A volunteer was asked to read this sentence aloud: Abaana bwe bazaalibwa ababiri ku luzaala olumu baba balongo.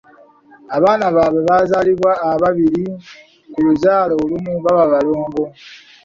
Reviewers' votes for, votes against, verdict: 1, 2, rejected